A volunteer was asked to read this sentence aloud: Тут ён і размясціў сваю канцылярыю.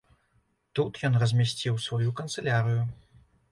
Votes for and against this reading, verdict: 1, 2, rejected